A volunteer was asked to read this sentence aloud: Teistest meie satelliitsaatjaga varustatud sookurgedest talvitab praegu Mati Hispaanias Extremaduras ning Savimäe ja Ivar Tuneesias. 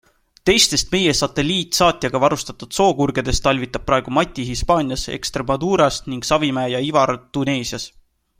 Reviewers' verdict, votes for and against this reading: accepted, 2, 0